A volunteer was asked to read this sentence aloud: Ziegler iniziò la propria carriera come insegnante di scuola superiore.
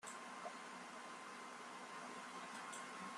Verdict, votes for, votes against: rejected, 0, 2